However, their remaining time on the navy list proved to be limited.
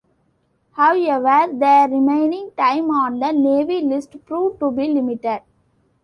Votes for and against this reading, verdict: 2, 0, accepted